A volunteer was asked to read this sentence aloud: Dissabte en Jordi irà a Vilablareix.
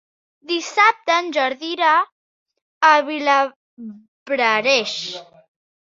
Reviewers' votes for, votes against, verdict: 0, 2, rejected